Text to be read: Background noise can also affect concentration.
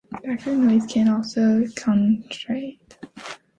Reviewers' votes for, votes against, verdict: 2, 1, accepted